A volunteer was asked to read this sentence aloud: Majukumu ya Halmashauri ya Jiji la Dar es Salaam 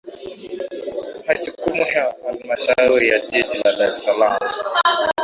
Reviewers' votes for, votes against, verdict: 2, 0, accepted